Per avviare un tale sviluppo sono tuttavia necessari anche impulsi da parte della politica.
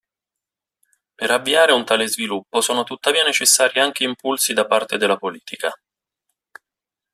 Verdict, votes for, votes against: accepted, 2, 0